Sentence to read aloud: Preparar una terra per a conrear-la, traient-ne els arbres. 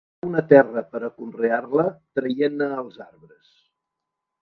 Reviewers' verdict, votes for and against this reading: rejected, 0, 2